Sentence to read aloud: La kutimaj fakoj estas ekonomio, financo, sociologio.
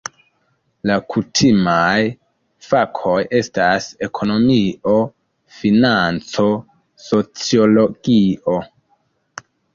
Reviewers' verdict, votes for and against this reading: rejected, 0, 2